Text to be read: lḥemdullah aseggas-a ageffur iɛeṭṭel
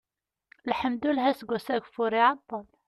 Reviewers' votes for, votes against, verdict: 2, 0, accepted